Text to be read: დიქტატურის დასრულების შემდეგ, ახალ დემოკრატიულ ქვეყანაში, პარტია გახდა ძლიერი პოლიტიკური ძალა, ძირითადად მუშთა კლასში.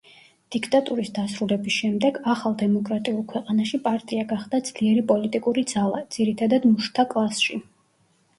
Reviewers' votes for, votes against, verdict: 0, 2, rejected